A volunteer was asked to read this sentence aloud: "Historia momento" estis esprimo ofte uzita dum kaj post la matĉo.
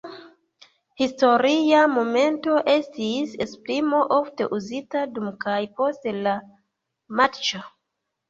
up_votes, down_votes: 0, 2